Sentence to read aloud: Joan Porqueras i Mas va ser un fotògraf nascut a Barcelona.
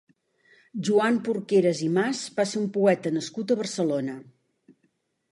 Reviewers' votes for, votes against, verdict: 1, 2, rejected